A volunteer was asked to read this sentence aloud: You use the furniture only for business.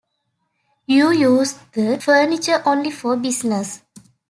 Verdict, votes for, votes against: accepted, 2, 0